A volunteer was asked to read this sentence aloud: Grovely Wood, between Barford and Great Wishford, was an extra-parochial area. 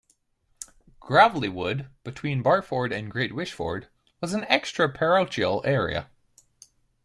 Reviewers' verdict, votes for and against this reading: rejected, 1, 2